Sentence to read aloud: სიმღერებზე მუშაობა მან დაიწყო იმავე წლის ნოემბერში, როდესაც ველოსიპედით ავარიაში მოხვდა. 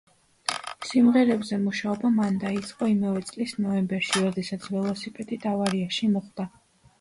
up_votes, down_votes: 2, 1